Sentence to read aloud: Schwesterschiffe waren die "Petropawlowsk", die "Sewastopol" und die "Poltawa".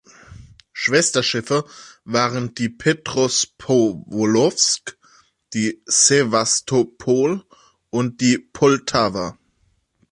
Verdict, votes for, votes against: rejected, 0, 2